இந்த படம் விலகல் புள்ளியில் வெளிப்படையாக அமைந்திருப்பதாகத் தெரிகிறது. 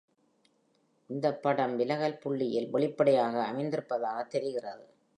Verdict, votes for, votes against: accepted, 2, 0